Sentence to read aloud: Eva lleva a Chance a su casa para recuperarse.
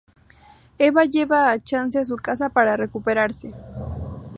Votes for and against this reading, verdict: 4, 0, accepted